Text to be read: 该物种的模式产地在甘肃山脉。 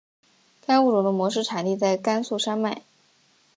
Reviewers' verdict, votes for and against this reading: accepted, 2, 0